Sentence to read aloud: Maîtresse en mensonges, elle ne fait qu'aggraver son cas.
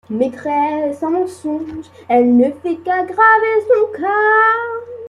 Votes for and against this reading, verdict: 2, 1, accepted